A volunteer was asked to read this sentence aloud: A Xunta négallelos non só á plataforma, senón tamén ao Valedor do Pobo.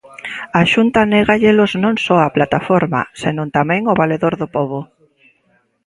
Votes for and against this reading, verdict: 2, 0, accepted